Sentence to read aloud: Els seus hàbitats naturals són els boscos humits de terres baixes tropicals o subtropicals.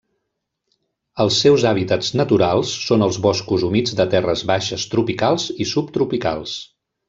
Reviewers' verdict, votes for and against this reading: rejected, 0, 2